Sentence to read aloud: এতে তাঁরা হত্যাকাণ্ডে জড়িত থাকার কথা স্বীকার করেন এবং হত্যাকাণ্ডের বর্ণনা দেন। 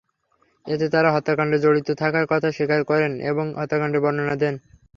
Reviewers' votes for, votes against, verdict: 3, 0, accepted